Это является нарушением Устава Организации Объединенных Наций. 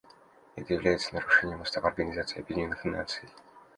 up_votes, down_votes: 2, 0